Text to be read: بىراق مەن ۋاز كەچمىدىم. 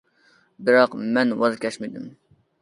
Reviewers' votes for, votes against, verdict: 2, 0, accepted